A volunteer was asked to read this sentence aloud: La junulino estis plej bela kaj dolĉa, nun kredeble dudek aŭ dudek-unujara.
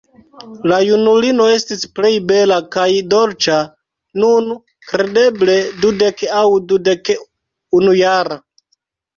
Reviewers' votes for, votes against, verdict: 1, 2, rejected